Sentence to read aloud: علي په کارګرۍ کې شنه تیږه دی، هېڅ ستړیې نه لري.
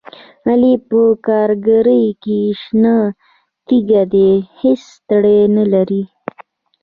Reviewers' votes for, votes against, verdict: 1, 2, rejected